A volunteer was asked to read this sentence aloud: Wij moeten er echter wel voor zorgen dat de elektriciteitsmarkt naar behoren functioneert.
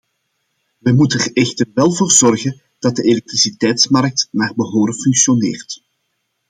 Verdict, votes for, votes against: accepted, 2, 0